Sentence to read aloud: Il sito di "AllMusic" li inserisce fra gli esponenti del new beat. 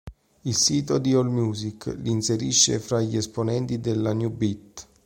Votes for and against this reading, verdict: 1, 2, rejected